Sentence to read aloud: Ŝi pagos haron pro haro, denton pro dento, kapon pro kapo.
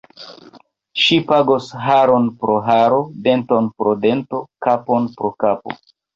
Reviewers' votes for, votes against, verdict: 0, 3, rejected